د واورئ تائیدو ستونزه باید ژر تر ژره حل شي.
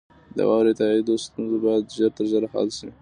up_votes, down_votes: 2, 0